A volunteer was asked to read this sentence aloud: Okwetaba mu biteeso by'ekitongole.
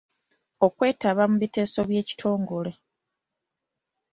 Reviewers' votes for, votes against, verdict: 2, 0, accepted